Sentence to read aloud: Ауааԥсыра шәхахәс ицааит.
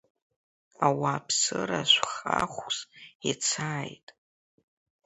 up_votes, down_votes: 2, 0